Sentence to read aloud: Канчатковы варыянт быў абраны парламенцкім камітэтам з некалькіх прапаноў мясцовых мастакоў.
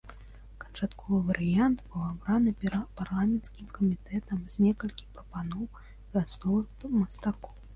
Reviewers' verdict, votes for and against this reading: rejected, 0, 2